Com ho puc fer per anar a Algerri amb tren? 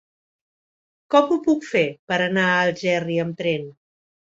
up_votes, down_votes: 5, 0